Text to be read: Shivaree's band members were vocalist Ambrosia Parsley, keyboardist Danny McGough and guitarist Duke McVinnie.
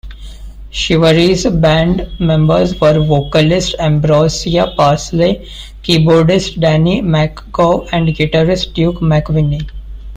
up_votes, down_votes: 2, 0